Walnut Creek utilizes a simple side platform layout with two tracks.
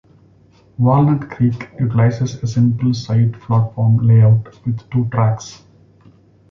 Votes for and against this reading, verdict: 2, 0, accepted